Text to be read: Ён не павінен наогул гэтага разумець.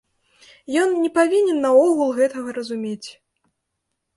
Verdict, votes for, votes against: accepted, 2, 0